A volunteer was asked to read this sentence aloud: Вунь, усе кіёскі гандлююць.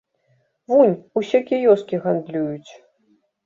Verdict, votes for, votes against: rejected, 0, 2